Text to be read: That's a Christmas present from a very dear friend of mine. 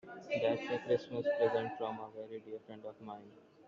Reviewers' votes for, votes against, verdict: 1, 2, rejected